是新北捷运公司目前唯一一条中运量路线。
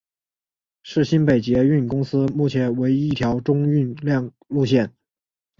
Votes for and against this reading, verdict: 2, 0, accepted